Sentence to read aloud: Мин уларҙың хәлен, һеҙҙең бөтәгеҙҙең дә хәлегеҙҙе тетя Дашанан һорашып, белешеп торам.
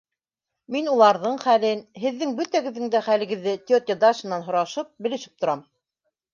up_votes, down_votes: 3, 0